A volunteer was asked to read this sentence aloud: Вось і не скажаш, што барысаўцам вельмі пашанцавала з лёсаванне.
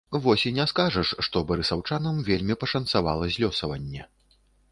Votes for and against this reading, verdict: 0, 2, rejected